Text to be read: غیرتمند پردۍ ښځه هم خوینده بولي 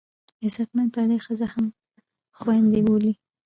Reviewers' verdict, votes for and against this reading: rejected, 0, 2